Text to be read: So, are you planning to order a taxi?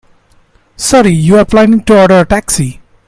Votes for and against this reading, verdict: 1, 2, rejected